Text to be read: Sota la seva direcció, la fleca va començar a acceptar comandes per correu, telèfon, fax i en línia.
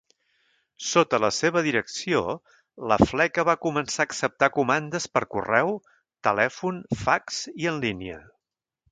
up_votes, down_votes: 3, 0